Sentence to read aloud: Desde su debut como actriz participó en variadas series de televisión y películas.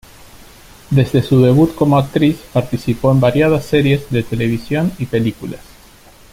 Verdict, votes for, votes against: accepted, 2, 0